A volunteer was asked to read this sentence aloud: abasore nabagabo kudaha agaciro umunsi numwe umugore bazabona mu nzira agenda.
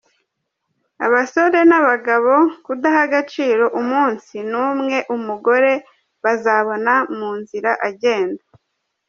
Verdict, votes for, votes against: accepted, 2, 1